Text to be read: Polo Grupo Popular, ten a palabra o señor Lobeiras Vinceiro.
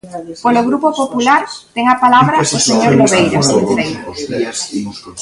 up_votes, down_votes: 0, 2